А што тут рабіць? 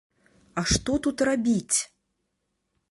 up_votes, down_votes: 2, 0